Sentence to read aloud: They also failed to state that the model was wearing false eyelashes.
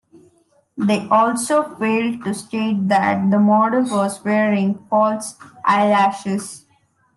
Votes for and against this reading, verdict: 2, 0, accepted